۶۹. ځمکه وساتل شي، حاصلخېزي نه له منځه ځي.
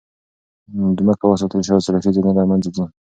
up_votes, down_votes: 0, 2